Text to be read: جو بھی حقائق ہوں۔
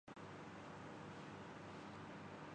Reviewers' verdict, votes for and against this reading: rejected, 0, 2